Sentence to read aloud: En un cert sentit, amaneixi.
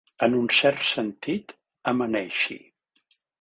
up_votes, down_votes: 2, 0